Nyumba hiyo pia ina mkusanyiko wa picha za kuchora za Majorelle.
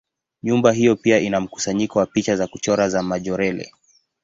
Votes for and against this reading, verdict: 2, 0, accepted